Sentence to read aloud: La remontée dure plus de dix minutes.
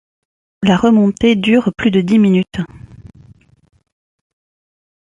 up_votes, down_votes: 2, 0